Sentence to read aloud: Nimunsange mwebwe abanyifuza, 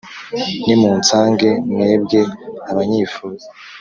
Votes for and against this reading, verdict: 2, 0, accepted